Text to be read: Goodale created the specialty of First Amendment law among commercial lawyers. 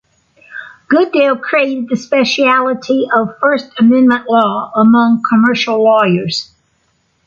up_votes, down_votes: 2, 1